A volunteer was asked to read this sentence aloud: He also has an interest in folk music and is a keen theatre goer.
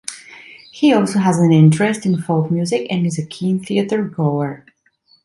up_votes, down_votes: 2, 0